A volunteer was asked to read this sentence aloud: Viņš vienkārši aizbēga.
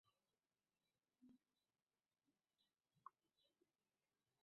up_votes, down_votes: 0, 2